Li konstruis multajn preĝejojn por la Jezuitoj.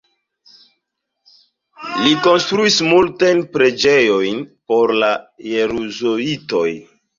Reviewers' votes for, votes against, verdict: 0, 2, rejected